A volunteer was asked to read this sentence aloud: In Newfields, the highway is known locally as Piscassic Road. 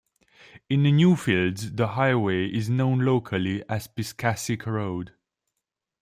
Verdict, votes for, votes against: rejected, 1, 2